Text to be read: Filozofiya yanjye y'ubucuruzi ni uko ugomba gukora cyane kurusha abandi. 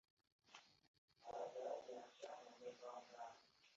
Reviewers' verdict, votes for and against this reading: rejected, 0, 2